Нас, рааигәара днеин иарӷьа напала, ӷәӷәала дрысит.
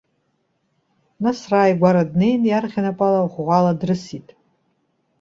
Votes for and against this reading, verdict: 2, 0, accepted